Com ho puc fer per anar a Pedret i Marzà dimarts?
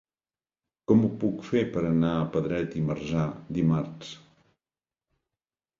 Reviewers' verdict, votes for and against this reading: accepted, 2, 0